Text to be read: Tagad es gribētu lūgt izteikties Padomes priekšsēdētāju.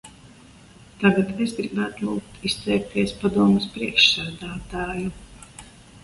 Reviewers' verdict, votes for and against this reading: accepted, 2, 0